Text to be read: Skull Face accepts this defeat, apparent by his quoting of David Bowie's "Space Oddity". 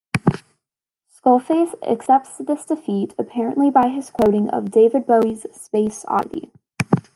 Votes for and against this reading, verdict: 0, 2, rejected